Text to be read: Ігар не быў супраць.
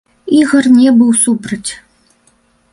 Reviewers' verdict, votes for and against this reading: rejected, 0, 2